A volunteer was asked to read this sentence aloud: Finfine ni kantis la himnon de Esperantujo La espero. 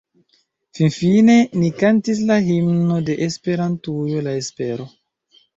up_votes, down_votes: 0, 2